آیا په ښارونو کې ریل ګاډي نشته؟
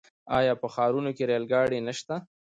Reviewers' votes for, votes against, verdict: 2, 0, accepted